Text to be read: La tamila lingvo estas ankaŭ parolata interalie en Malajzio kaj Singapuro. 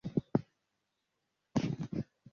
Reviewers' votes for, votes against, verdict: 0, 2, rejected